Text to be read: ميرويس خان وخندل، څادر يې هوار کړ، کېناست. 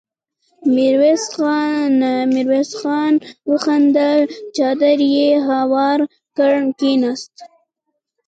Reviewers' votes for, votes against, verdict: 1, 2, rejected